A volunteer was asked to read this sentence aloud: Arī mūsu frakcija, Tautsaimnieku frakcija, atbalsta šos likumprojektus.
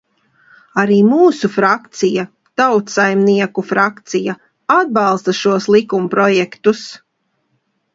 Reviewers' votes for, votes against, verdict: 2, 0, accepted